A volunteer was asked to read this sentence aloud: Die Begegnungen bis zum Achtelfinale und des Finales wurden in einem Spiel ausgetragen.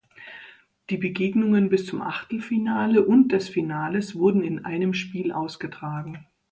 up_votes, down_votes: 3, 0